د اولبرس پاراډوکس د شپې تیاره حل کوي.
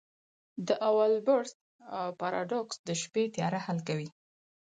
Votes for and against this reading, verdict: 4, 0, accepted